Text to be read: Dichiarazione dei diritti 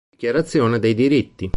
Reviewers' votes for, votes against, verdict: 0, 2, rejected